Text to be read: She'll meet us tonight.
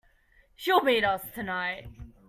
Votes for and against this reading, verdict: 2, 0, accepted